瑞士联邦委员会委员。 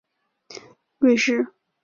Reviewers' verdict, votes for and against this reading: rejected, 0, 3